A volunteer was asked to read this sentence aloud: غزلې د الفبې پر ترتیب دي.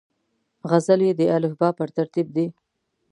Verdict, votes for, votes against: accepted, 2, 0